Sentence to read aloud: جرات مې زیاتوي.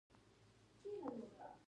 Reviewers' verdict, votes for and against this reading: rejected, 0, 2